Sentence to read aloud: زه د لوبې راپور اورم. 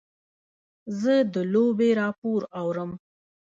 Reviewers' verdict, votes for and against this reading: rejected, 0, 2